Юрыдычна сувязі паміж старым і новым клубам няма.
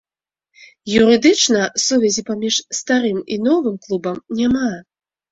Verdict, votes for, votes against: accepted, 2, 0